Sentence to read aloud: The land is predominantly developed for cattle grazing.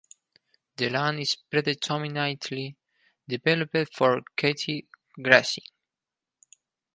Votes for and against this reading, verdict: 4, 2, accepted